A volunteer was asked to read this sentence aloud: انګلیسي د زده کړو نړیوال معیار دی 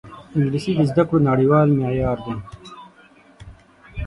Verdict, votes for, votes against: rejected, 3, 6